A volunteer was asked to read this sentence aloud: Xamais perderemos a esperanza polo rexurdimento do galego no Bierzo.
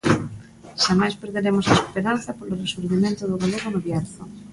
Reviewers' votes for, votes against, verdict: 2, 0, accepted